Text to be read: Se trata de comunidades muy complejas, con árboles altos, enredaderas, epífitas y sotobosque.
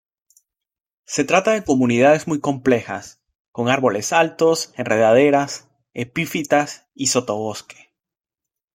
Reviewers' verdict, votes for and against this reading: accepted, 2, 0